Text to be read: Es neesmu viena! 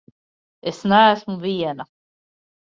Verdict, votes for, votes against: accepted, 2, 0